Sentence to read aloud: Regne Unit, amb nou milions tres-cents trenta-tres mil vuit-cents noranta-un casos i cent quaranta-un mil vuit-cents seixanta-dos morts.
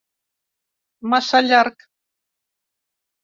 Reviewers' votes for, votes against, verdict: 0, 2, rejected